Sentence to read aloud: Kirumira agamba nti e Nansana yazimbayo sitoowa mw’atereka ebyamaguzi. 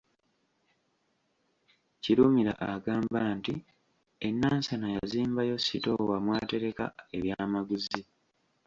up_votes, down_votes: 2, 0